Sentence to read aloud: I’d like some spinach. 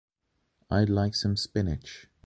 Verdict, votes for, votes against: accepted, 2, 0